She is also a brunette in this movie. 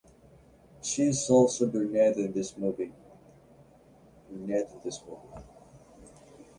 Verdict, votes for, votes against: rejected, 0, 2